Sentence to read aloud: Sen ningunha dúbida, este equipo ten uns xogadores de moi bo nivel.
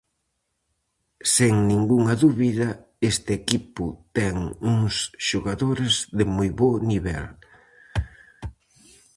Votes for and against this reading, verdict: 2, 2, rejected